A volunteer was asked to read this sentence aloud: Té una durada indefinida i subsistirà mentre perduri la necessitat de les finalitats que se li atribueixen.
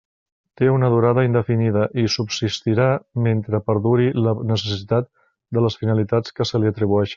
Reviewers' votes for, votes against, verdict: 0, 2, rejected